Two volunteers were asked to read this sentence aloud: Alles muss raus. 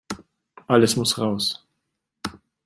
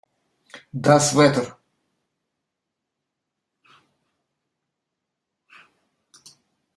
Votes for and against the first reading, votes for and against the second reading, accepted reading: 2, 0, 0, 2, first